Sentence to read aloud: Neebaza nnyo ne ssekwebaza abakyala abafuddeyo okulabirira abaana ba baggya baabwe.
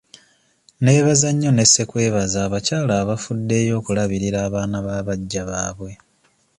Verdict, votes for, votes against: accepted, 2, 0